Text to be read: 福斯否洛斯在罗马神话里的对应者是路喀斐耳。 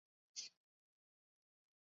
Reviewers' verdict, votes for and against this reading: rejected, 1, 4